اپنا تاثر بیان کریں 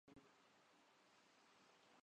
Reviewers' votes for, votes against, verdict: 0, 3, rejected